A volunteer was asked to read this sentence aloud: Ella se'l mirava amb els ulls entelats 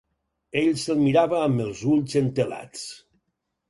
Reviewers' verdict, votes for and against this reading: rejected, 2, 4